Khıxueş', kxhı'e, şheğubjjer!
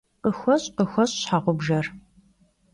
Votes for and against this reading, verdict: 1, 2, rejected